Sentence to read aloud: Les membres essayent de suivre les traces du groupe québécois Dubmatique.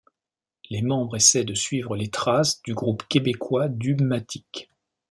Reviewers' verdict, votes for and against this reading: accepted, 2, 0